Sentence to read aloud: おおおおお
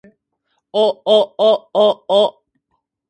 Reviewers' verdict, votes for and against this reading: accepted, 2, 0